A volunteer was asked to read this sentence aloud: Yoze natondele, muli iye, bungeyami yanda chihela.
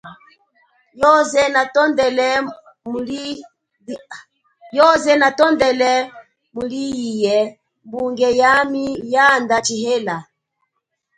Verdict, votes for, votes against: rejected, 1, 2